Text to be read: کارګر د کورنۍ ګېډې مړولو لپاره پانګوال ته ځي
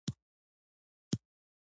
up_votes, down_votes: 0, 2